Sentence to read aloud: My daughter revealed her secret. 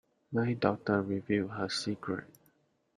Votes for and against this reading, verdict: 1, 2, rejected